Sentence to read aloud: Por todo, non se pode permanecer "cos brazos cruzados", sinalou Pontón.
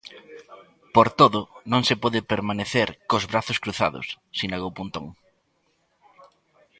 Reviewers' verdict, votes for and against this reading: accepted, 2, 0